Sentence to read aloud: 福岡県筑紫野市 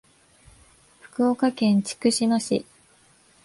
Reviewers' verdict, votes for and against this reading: accepted, 2, 0